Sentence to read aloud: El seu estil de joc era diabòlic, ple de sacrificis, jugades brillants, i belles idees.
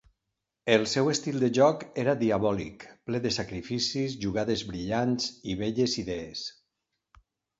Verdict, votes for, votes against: accepted, 2, 0